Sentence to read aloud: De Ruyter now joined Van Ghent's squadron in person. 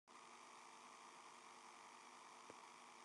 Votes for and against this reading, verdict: 0, 2, rejected